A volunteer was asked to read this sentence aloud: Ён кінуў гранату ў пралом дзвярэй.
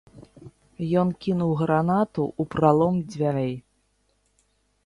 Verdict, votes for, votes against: rejected, 0, 2